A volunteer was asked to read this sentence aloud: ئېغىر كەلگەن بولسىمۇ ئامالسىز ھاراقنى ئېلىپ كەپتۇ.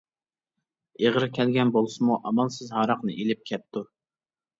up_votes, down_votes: 2, 0